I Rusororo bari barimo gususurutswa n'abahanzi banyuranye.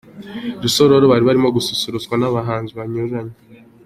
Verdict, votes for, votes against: accepted, 2, 0